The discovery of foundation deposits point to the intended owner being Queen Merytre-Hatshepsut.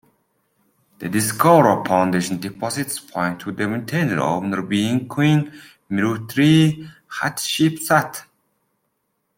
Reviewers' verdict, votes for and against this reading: rejected, 0, 2